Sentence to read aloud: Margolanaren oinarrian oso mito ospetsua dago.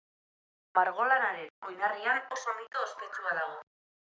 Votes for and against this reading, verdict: 2, 0, accepted